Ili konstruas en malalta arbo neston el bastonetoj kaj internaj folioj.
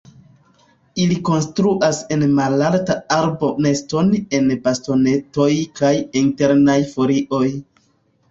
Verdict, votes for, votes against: accepted, 2, 1